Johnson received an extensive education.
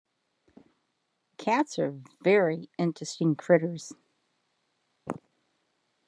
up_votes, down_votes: 0, 2